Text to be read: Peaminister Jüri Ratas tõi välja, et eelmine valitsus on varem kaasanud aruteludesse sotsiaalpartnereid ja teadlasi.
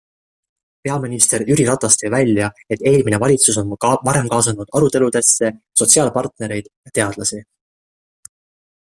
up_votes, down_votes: 1, 2